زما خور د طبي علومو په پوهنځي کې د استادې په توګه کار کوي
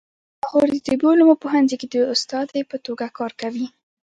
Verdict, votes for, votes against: rejected, 1, 2